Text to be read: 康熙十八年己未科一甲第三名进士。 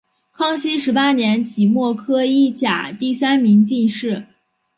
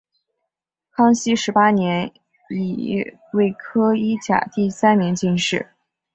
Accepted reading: first